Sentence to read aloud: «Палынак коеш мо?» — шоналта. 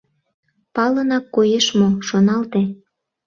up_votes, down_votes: 0, 2